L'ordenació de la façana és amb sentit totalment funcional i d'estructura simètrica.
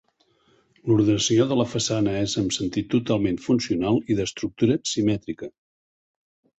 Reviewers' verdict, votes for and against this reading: accepted, 2, 0